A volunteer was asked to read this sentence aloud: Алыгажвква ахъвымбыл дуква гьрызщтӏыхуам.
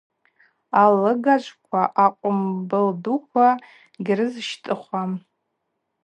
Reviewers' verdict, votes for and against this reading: rejected, 2, 2